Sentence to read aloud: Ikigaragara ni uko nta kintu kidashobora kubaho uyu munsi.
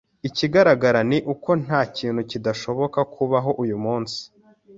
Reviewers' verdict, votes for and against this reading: rejected, 1, 2